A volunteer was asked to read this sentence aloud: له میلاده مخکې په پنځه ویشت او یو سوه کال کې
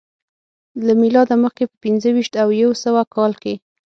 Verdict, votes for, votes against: accepted, 6, 0